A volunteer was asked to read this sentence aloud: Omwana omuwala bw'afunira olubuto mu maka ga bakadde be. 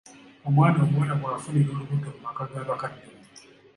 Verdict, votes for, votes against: accepted, 2, 1